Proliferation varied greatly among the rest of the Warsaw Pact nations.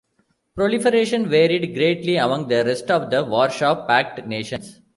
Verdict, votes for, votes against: rejected, 1, 2